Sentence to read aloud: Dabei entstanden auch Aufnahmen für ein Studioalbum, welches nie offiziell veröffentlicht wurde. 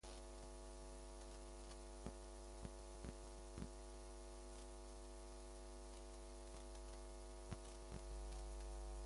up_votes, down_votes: 0, 2